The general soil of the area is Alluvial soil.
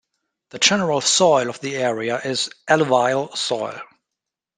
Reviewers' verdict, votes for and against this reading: accepted, 3, 2